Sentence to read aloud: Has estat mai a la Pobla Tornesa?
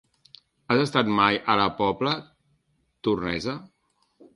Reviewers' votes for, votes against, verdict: 1, 2, rejected